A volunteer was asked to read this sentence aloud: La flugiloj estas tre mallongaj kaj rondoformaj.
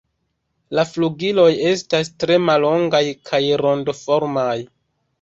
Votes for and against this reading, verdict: 4, 2, accepted